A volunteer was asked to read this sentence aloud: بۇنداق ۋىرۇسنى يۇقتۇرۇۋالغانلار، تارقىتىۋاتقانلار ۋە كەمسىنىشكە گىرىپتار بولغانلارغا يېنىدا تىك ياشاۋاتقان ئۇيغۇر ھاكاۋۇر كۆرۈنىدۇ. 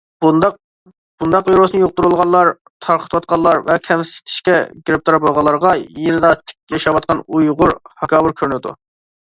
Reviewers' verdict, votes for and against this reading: rejected, 0, 2